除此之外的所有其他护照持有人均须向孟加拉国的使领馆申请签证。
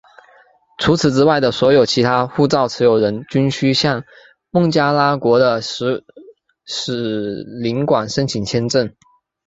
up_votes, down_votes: 1, 2